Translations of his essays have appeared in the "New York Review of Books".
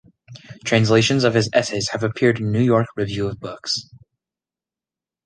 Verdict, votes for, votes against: rejected, 1, 2